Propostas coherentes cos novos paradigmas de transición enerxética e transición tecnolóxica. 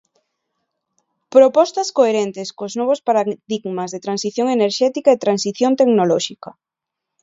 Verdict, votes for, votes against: accepted, 2, 1